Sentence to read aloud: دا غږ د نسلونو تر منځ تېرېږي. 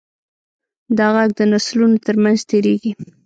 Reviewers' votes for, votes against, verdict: 1, 2, rejected